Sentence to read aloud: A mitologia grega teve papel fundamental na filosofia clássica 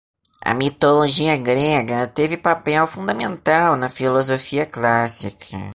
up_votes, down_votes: 1, 2